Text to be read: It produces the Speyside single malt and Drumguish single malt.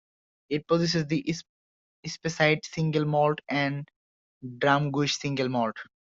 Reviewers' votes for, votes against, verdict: 0, 2, rejected